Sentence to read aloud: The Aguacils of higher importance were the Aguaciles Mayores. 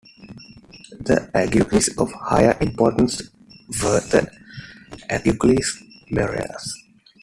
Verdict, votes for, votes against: rejected, 0, 2